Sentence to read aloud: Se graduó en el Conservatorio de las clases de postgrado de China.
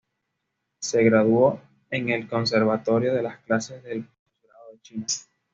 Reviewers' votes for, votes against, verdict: 2, 0, accepted